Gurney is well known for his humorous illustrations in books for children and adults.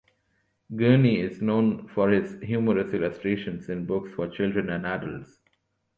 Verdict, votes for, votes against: rejected, 1, 2